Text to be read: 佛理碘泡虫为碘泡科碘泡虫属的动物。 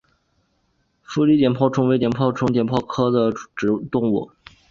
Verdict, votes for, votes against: accepted, 2, 0